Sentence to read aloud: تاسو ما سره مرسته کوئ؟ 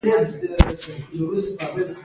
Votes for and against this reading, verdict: 1, 2, rejected